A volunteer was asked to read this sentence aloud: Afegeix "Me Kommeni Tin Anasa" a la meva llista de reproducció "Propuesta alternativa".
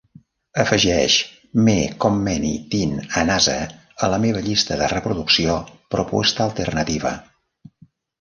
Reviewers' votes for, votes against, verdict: 0, 2, rejected